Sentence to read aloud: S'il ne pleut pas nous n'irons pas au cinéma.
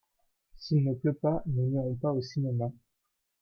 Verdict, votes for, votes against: accepted, 2, 1